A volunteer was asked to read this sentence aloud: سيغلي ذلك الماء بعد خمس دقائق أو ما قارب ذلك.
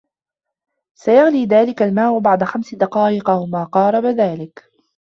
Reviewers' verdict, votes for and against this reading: rejected, 1, 2